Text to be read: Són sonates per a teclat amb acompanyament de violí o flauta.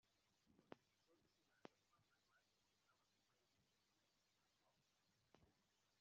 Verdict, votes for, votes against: rejected, 0, 2